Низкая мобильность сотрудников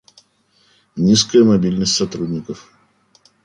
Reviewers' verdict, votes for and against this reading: accepted, 2, 0